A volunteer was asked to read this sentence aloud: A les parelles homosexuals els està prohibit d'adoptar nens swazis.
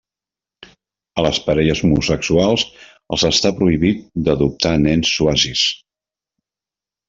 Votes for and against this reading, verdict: 2, 0, accepted